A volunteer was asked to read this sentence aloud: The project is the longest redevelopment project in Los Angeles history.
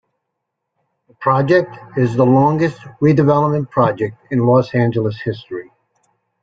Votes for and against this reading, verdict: 2, 1, accepted